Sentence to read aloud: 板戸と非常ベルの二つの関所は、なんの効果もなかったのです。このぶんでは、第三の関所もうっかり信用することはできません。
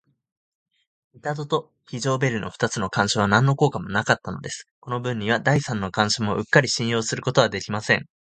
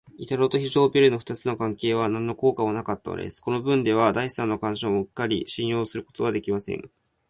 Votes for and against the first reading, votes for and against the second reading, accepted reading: 0, 2, 2, 0, second